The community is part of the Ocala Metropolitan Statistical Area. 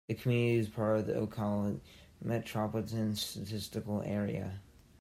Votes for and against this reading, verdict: 1, 2, rejected